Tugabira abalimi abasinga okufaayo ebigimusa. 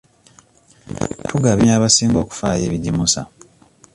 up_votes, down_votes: 1, 2